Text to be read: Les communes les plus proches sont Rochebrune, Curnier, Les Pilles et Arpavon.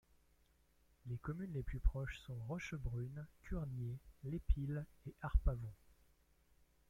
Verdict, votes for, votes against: rejected, 0, 2